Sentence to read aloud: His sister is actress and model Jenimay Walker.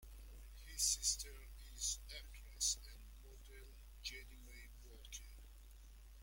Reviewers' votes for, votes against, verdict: 1, 2, rejected